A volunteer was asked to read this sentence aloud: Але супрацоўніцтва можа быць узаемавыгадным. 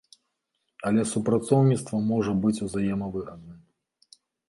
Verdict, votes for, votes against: accepted, 2, 0